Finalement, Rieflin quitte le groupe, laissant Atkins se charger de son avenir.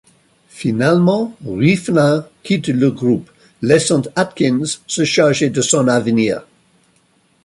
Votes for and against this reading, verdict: 2, 1, accepted